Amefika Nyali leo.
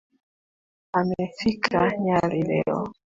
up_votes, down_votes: 2, 1